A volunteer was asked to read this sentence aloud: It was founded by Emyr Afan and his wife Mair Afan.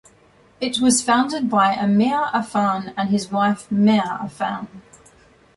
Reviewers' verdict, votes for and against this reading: accepted, 2, 0